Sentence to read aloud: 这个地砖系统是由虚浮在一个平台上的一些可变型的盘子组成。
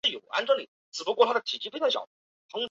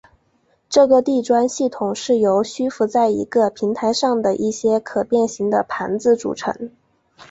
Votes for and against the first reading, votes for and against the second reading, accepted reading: 1, 3, 2, 0, second